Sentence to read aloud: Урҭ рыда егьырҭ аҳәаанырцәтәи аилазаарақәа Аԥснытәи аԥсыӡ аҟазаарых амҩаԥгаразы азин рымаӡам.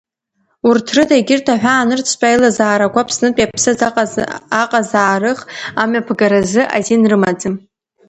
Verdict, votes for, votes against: rejected, 1, 2